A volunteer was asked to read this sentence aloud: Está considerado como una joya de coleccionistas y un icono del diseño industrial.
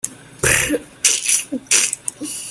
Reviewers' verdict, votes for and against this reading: rejected, 0, 3